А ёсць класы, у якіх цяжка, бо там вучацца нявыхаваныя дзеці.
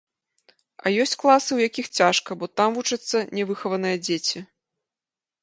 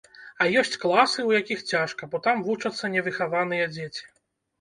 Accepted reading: first